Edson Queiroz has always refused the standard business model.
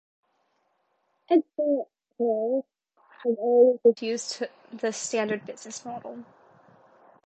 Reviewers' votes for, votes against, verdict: 2, 1, accepted